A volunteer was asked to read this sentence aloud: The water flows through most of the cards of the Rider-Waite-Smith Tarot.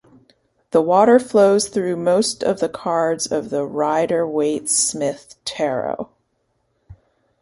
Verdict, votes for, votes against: accepted, 2, 0